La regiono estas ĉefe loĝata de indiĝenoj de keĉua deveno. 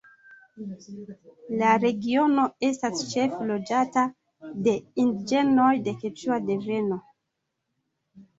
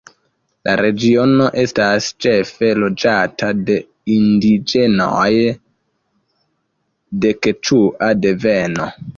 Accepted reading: first